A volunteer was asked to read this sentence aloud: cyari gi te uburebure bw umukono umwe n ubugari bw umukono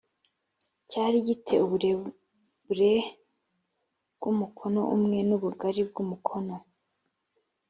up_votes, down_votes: 2, 0